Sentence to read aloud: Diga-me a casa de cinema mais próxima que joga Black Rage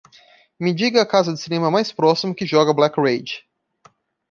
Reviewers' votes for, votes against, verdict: 0, 2, rejected